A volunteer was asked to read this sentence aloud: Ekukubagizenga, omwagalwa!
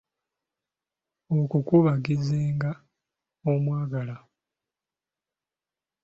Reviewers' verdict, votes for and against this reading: rejected, 1, 2